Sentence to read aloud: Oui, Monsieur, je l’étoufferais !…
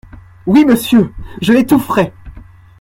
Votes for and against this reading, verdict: 2, 0, accepted